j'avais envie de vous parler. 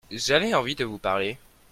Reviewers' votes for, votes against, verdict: 2, 0, accepted